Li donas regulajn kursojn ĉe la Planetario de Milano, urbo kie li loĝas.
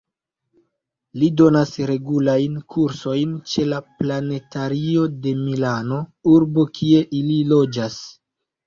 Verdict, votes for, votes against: rejected, 1, 2